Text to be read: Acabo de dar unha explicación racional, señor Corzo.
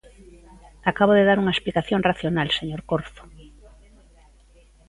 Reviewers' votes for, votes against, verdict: 1, 2, rejected